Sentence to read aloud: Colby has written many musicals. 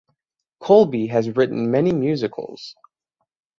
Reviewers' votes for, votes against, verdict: 6, 0, accepted